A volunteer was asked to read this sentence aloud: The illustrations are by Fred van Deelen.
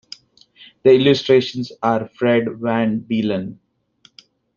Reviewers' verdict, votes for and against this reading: rejected, 0, 2